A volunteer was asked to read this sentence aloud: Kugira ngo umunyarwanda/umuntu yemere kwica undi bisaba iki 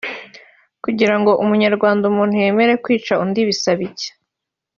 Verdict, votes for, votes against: accepted, 3, 0